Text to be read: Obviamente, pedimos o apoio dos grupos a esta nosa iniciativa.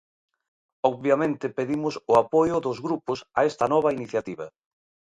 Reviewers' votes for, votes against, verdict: 0, 2, rejected